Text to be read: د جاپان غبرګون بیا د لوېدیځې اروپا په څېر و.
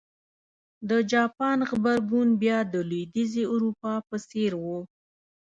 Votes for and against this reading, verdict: 1, 2, rejected